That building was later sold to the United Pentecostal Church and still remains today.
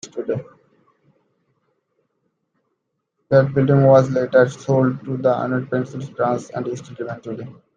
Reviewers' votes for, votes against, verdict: 0, 2, rejected